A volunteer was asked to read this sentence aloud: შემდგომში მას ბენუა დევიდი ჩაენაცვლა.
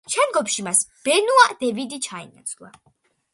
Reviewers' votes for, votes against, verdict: 2, 0, accepted